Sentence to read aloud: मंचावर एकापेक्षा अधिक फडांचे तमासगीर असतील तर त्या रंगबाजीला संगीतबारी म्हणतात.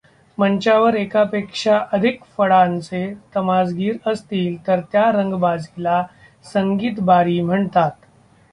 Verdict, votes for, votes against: rejected, 1, 2